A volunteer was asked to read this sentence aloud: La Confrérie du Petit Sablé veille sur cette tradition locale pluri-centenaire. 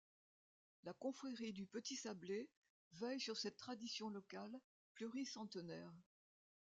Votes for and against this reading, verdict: 2, 1, accepted